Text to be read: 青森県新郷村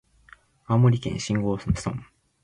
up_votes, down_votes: 2, 1